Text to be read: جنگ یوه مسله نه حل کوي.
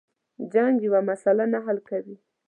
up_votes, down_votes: 0, 2